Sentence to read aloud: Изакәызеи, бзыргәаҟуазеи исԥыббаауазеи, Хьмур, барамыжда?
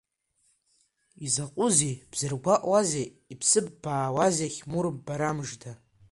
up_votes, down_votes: 2, 1